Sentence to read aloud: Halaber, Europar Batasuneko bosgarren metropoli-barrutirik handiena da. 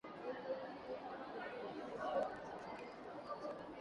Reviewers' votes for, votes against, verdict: 0, 3, rejected